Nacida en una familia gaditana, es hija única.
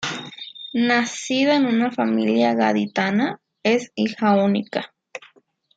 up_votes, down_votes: 2, 0